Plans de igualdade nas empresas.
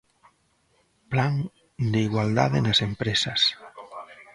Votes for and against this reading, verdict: 0, 2, rejected